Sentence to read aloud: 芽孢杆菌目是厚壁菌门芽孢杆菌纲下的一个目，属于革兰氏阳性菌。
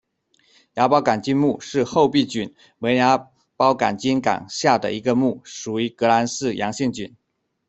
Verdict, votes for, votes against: rejected, 1, 2